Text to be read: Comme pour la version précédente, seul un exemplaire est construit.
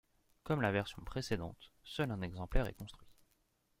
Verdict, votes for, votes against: accepted, 2, 0